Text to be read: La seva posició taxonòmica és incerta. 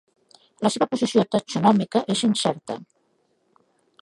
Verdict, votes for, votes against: rejected, 0, 2